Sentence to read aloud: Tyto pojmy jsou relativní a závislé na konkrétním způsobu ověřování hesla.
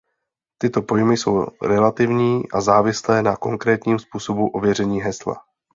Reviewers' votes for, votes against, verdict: 0, 2, rejected